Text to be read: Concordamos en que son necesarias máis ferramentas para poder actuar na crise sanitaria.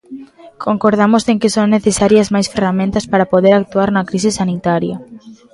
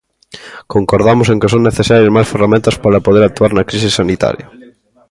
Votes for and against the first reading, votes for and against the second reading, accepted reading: 0, 2, 2, 0, second